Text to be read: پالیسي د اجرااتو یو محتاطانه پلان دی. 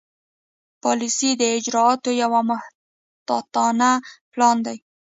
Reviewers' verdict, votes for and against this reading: rejected, 1, 2